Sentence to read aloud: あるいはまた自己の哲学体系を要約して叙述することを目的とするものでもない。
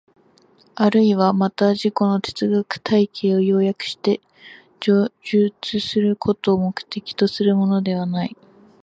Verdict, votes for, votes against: rejected, 0, 2